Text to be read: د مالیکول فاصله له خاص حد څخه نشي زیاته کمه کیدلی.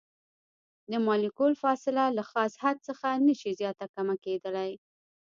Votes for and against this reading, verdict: 1, 3, rejected